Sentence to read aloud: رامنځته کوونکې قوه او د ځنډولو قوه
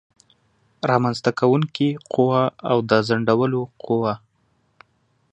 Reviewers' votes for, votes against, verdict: 2, 0, accepted